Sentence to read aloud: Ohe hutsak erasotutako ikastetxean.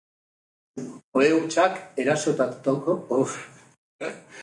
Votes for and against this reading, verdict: 0, 2, rejected